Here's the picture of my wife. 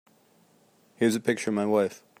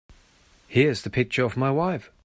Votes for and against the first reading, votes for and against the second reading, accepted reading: 0, 2, 2, 0, second